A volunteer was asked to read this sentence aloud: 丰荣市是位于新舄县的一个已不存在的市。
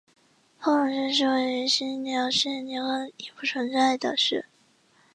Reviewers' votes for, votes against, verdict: 0, 2, rejected